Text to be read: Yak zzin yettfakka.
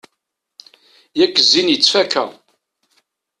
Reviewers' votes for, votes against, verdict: 2, 0, accepted